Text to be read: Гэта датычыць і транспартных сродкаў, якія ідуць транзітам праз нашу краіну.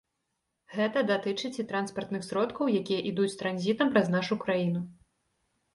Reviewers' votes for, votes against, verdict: 2, 0, accepted